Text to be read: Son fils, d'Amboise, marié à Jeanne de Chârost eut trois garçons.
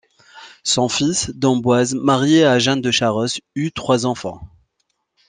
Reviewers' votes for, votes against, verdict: 1, 2, rejected